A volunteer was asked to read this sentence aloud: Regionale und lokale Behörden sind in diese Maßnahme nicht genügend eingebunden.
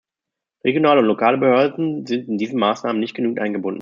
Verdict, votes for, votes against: rejected, 0, 2